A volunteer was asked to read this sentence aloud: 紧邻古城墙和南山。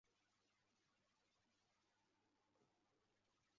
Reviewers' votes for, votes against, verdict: 0, 2, rejected